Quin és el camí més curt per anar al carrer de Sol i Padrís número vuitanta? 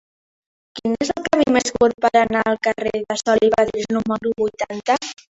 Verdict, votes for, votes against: rejected, 0, 3